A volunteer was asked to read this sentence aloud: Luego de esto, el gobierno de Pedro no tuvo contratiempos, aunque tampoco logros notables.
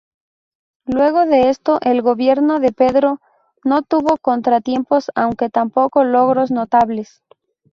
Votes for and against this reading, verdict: 2, 0, accepted